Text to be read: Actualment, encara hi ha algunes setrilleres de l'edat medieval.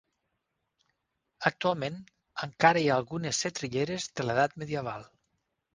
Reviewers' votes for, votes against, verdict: 6, 0, accepted